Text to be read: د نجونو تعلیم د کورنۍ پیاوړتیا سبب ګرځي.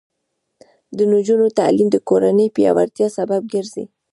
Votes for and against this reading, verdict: 0, 2, rejected